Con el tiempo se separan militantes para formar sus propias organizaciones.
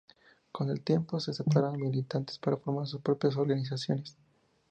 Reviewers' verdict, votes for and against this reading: accepted, 2, 0